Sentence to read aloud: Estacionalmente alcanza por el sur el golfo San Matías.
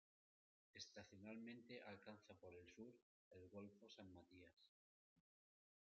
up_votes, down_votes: 2, 0